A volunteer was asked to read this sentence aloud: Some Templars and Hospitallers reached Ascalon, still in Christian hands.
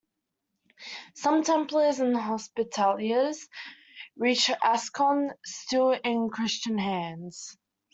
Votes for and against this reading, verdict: 0, 2, rejected